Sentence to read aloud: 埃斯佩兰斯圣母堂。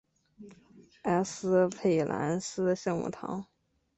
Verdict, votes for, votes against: accepted, 3, 2